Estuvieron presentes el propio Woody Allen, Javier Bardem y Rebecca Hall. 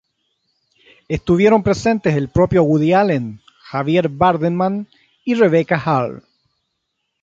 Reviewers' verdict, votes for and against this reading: rejected, 0, 3